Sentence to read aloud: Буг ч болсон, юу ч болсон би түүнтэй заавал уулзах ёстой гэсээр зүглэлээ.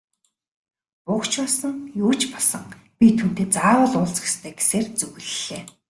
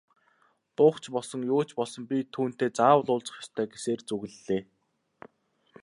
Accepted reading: first